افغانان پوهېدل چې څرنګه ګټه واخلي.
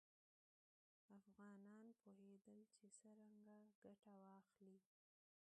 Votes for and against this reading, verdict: 0, 2, rejected